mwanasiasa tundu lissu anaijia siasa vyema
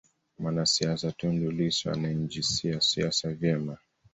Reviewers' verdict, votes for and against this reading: rejected, 1, 2